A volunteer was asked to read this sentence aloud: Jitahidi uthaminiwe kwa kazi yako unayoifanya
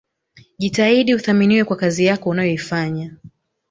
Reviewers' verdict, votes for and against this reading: accepted, 3, 1